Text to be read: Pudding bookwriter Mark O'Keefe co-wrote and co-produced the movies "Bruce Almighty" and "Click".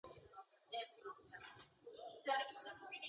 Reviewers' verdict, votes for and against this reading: rejected, 0, 2